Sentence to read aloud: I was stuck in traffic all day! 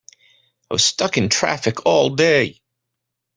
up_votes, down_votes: 1, 2